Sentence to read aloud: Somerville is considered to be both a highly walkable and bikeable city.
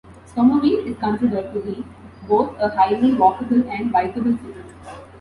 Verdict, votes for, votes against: accepted, 2, 0